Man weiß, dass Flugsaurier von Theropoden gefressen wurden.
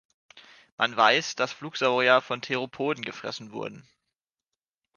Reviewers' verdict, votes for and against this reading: accepted, 3, 0